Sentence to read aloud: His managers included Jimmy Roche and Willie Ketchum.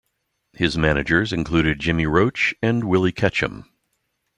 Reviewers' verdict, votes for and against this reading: accepted, 2, 0